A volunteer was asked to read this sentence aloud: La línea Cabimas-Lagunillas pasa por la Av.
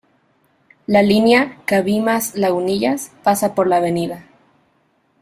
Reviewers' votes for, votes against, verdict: 2, 0, accepted